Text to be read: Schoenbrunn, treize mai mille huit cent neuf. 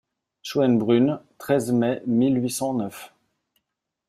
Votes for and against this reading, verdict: 2, 0, accepted